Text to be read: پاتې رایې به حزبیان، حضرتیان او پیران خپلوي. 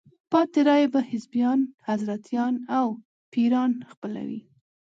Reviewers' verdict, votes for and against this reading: accepted, 2, 0